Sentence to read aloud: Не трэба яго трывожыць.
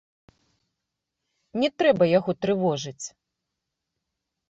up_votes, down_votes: 1, 2